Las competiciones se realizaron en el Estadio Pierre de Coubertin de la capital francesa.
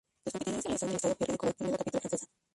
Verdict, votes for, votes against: rejected, 0, 2